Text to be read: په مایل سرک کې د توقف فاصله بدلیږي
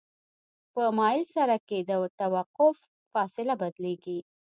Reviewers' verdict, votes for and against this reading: accepted, 2, 0